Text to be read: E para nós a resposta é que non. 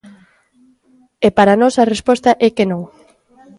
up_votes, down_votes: 2, 0